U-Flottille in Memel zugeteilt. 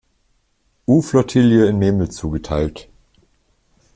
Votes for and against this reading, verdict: 1, 2, rejected